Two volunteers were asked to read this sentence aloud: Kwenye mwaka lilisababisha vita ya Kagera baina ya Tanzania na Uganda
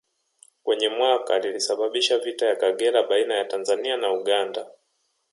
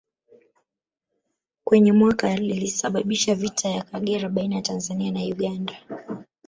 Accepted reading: first